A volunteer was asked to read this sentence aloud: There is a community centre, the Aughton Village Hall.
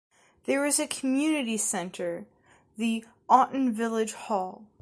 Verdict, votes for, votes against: accepted, 2, 0